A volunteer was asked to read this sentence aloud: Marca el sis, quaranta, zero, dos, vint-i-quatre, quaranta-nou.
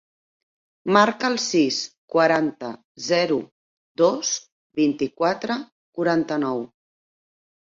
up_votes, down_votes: 3, 0